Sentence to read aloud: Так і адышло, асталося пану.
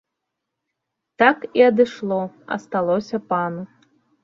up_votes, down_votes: 2, 0